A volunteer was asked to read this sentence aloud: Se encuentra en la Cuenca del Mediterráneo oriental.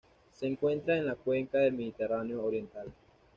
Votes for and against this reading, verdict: 2, 0, accepted